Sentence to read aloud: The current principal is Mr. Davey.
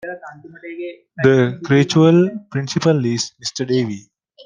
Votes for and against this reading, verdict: 0, 2, rejected